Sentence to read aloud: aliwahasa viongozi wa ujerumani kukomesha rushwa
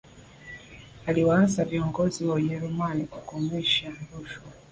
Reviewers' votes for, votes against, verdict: 2, 1, accepted